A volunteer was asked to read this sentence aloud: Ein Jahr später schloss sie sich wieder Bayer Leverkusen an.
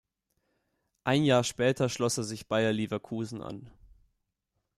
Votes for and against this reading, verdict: 1, 2, rejected